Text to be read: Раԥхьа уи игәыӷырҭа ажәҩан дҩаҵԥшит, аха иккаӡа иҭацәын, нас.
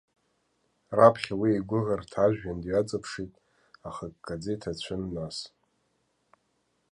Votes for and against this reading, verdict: 2, 0, accepted